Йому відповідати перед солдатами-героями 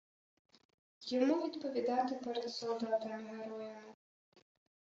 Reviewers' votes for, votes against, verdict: 0, 2, rejected